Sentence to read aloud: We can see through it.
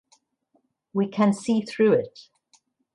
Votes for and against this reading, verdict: 2, 0, accepted